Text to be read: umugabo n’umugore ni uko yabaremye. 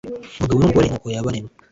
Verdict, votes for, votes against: rejected, 1, 2